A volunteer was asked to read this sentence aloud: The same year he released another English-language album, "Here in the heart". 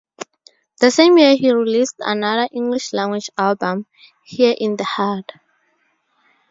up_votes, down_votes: 2, 0